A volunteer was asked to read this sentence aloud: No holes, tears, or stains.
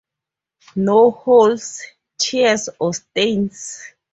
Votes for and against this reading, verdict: 2, 0, accepted